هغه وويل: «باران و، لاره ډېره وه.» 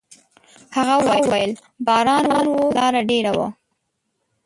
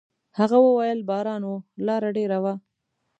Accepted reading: second